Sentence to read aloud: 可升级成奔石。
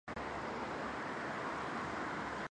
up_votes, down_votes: 2, 0